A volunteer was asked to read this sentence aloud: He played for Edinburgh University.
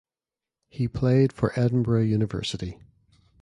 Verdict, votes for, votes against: rejected, 0, 2